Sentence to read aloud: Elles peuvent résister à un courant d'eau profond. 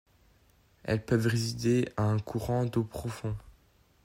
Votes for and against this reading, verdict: 2, 0, accepted